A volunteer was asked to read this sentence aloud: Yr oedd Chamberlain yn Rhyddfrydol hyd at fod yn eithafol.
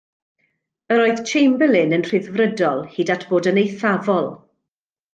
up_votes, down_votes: 2, 0